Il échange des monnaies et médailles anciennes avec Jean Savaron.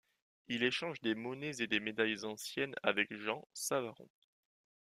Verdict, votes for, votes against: rejected, 1, 2